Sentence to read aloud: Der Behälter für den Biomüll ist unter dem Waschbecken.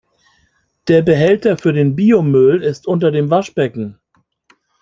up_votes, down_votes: 2, 0